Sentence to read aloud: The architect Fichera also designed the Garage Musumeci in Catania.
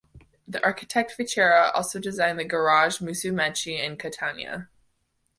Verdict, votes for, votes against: accepted, 2, 0